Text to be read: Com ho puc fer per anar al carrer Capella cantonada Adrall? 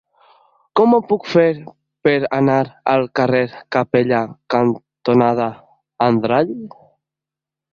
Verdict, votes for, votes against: rejected, 0, 2